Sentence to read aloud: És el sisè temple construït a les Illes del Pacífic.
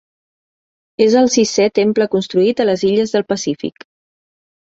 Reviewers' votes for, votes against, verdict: 1, 2, rejected